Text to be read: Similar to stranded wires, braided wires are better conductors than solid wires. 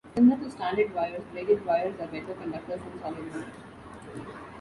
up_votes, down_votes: 0, 2